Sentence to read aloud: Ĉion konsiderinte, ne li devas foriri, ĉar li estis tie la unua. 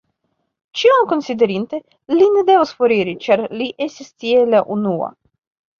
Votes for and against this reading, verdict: 2, 0, accepted